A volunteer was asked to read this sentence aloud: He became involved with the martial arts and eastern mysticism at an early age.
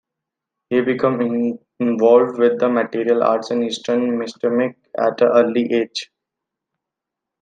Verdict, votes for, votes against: rejected, 0, 2